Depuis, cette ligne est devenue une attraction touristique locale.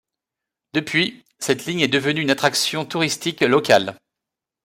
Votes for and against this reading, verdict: 2, 0, accepted